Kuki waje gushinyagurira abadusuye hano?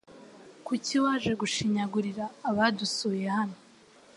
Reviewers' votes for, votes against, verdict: 2, 0, accepted